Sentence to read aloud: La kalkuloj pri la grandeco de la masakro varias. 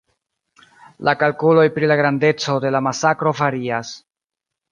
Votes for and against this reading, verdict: 1, 2, rejected